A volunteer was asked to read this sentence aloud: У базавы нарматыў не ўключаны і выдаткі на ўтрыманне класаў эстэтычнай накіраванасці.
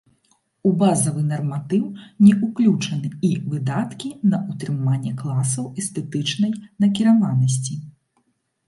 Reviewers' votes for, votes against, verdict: 1, 2, rejected